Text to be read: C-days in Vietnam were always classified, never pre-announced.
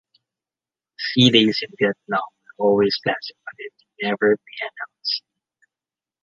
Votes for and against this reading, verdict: 1, 2, rejected